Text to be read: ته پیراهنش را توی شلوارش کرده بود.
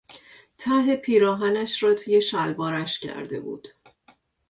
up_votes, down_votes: 2, 0